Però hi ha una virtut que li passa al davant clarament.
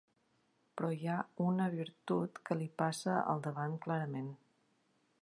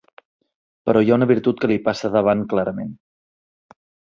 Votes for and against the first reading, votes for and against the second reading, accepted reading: 3, 0, 0, 2, first